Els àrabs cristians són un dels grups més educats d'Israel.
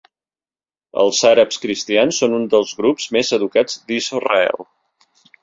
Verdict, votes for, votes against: accepted, 3, 0